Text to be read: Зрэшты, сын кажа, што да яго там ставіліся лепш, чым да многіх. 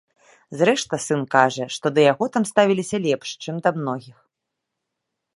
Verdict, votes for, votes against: accepted, 2, 0